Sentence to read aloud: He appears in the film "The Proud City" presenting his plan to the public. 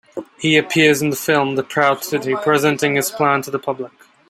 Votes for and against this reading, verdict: 2, 1, accepted